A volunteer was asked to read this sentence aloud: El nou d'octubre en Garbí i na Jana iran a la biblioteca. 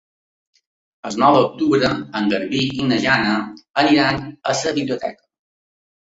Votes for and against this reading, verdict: 2, 1, accepted